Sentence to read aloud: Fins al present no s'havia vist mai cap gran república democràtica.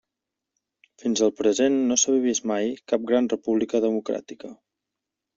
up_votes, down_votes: 1, 2